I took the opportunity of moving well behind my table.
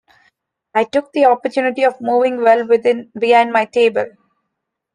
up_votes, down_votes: 0, 3